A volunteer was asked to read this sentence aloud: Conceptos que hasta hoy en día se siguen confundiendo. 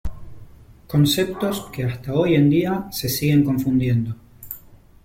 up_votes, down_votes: 2, 0